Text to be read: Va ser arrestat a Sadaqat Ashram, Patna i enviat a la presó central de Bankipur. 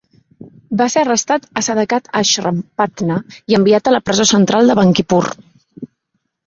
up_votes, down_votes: 2, 0